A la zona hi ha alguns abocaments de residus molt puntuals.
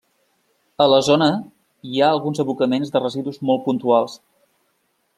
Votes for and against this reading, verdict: 3, 0, accepted